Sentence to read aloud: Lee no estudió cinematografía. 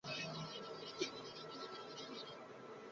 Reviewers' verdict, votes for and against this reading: rejected, 0, 2